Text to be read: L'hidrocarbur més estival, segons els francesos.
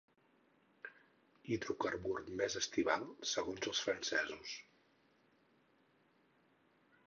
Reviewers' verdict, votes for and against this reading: rejected, 2, 4